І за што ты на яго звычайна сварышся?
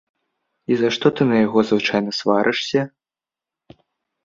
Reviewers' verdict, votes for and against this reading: accepted, 2, 1